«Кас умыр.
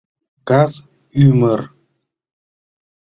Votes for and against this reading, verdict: 0, 2, rejected